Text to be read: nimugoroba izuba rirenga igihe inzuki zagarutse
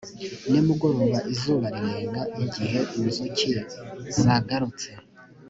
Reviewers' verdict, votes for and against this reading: accepted, 2, 0